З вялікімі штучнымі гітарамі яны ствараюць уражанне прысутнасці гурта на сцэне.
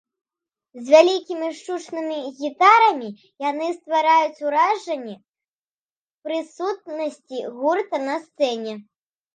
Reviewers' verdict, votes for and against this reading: rejected, 0, 2